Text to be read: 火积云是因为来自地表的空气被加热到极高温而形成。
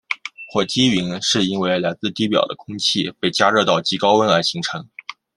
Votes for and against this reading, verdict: 2, 0, accepted